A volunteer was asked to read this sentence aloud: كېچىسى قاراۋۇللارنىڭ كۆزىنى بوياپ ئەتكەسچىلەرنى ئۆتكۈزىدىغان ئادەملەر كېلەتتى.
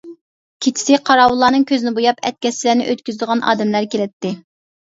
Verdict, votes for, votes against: accepted, 2, 0